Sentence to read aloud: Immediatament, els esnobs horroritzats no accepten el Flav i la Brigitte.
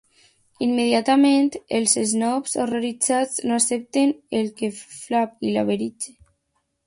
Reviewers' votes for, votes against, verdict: 0, 2, rejected